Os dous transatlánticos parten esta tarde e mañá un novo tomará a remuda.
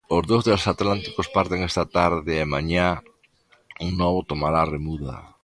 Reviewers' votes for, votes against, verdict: 2, 0, accepted